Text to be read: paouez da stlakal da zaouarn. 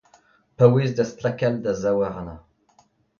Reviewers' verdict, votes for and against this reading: accepted, 2, 0